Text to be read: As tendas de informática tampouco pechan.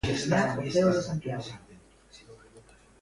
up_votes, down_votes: 0, 2